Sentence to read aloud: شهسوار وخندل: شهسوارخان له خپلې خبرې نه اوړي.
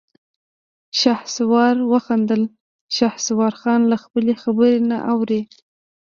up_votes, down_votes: 2, 0